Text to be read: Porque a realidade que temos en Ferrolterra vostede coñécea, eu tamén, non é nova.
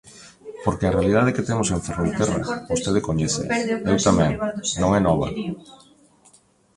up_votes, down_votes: 0, 2